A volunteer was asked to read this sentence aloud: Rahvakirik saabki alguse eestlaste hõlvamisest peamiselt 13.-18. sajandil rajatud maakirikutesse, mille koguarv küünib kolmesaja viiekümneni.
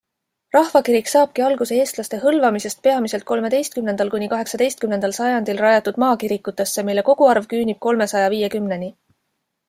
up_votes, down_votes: 0, 2